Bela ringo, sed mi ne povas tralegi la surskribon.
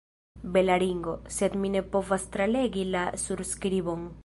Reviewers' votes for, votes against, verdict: 2, 1, accepted